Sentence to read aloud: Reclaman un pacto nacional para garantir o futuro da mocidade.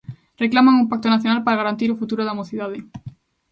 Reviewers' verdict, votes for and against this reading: accepted, 2, 0